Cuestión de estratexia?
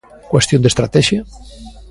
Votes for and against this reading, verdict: 1, 2, rejected